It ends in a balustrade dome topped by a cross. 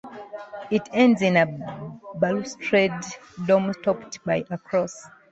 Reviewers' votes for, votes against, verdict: 2, 1, accepted